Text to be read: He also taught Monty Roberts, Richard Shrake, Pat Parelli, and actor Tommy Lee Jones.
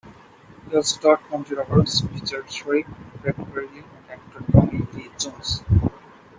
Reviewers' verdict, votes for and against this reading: rejected, 0, 2